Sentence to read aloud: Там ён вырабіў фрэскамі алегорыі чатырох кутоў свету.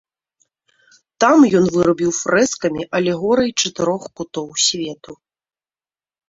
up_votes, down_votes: 2, 0